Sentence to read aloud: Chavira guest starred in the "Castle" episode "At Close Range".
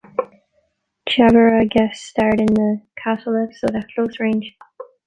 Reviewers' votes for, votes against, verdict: 2, 0, accepted